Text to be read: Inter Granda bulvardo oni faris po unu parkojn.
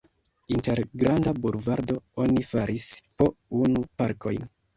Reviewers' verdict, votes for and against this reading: rejected, 1, 2